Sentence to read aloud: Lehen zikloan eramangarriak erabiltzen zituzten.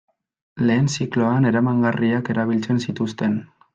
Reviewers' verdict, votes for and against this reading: accepted, 2, 1